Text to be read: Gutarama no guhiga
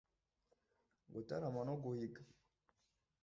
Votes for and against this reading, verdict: 2, 0, accepted